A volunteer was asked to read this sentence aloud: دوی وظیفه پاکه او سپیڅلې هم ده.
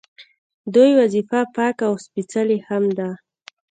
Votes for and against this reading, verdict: 2, 0, accepted